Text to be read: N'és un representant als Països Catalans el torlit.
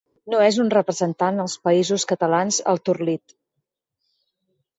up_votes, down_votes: 0, 4